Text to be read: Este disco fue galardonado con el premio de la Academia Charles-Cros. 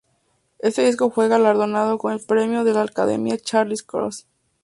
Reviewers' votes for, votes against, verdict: 2, 0, accepted